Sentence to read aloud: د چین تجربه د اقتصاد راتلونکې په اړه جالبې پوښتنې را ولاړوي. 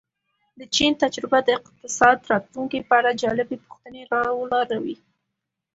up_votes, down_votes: 2, 0